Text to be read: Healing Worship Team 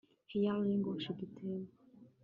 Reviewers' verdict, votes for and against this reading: rejected, 0, 2